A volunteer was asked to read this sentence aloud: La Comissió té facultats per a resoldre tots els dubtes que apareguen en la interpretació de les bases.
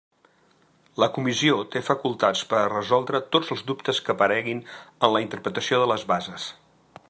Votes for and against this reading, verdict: 0, 2, rejected